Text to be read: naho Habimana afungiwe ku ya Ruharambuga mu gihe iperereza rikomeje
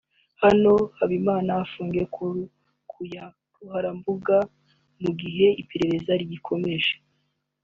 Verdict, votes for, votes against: rejected, 1, 2